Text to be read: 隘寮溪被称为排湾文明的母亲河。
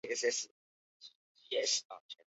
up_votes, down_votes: 0, 2